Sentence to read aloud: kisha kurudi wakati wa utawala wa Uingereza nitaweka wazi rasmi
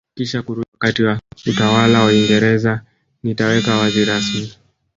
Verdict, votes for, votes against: rejected, 1, 2